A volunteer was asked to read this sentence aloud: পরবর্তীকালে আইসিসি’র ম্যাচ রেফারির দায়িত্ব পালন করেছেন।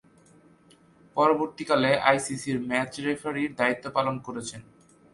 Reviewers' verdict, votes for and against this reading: accepted, 2, 0